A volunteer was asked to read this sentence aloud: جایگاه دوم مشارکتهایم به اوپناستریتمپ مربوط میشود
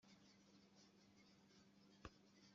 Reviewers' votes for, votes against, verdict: 1, 2, rejected